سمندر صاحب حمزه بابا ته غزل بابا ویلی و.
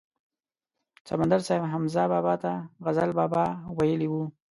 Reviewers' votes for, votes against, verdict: 2, 0, accepted